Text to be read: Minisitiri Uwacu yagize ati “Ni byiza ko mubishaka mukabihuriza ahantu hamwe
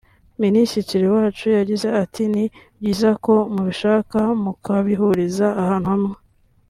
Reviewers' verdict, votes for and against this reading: accepted, 2, 0